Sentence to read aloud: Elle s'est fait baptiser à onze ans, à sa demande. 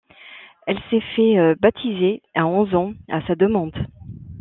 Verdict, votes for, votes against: accepted, 2, 1